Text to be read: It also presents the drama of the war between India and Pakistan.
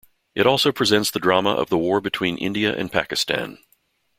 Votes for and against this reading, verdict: 2, 1, accepted